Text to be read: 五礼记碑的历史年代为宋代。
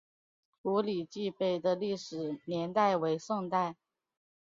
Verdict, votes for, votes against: accepted, 3, 2